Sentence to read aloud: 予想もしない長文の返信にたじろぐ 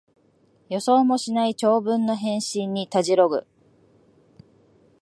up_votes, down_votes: 2, 0